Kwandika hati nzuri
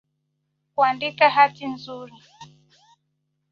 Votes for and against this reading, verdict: 2, 1, accepted